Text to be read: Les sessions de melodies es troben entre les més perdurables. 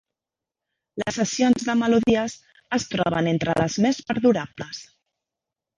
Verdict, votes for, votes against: rejected, 1, 3